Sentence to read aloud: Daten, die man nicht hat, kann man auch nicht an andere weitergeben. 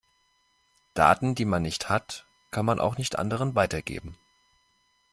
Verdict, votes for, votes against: rejected, 1, 2